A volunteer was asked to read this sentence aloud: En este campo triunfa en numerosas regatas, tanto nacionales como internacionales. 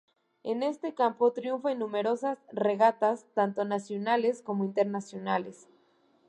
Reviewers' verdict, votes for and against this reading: accepted, 2, 0